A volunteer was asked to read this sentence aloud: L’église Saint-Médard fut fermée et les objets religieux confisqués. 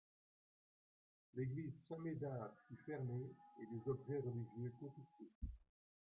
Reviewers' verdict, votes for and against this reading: rejected, 0, 3